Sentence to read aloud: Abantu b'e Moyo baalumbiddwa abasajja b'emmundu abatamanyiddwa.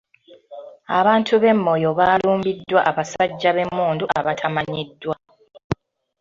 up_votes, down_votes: 2, 0